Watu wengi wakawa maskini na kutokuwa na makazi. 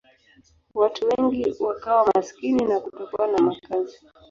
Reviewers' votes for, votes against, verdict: 3, 0, accepted